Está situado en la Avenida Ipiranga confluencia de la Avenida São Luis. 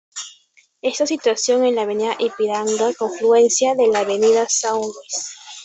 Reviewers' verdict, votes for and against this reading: rejected, 0, 2